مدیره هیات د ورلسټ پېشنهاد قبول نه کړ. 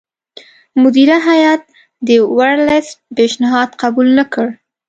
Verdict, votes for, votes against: accepted, 2, 0